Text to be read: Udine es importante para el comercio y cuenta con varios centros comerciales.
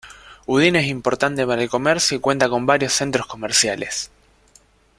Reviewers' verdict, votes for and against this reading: accepted, 2, 1